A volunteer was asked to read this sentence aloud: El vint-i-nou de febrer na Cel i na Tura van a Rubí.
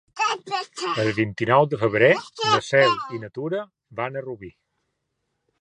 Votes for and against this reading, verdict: 3, 0, accepted